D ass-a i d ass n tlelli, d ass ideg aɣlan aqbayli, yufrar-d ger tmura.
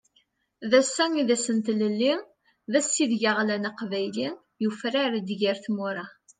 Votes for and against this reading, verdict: 2, 0, accepted